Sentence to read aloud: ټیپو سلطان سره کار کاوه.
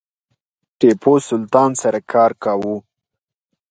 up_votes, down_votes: 2, 0